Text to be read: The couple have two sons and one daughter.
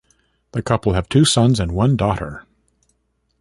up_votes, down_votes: 2, 1